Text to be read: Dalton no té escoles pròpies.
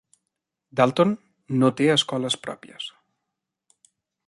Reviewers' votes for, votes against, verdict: 3, 0, accepted